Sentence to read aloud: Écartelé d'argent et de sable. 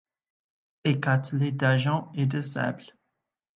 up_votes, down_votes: 1, 2